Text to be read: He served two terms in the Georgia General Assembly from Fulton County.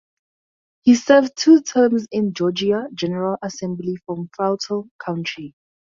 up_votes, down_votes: 0, 4